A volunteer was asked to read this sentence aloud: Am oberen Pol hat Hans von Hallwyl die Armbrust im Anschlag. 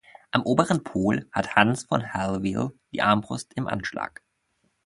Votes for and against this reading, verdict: 2, 0, accepted